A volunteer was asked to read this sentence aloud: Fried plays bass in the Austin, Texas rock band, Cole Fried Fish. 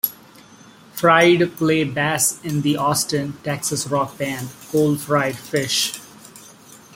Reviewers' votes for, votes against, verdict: 0, 2, rejected